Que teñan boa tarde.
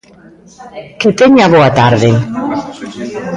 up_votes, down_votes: 1, 2